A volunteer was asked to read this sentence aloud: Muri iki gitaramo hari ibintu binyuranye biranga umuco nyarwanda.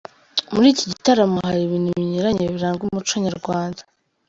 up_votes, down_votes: 2, 0